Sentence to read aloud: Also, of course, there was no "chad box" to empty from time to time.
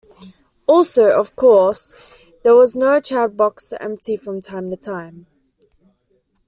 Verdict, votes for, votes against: accepted, 2, 0